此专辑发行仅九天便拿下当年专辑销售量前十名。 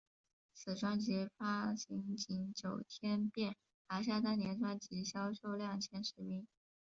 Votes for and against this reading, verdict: 1, 2, rejected